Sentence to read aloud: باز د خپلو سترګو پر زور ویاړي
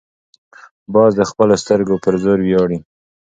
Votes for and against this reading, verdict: 2, 0, accepted